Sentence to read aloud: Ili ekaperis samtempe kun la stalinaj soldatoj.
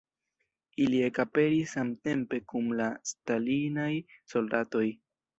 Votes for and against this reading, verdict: 1, 2, rejected